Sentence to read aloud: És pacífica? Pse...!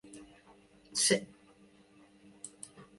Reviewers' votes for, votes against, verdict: 0, 2, rejected